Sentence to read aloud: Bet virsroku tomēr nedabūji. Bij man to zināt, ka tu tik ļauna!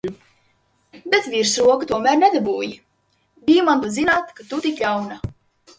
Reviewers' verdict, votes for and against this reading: rejected, 1, 2